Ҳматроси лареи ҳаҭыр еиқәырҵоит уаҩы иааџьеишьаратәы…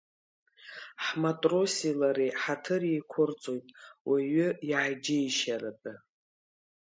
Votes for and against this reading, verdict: 2, 1, accepted